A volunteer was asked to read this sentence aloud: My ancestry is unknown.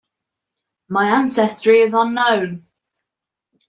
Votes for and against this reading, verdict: 2, 0, accepted